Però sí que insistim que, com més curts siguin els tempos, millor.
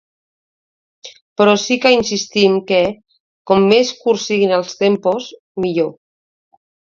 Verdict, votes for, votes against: accepted, 2, 0